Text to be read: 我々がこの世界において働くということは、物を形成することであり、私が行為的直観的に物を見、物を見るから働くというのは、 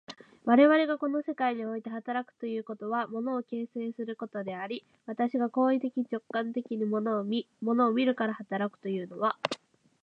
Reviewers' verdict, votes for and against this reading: accepted, 4, 0